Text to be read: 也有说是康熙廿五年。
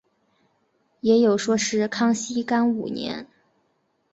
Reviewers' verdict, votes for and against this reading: rejected, 0, 3